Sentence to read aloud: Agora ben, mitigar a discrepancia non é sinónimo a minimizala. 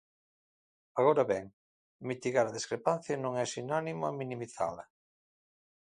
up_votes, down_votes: 2, 0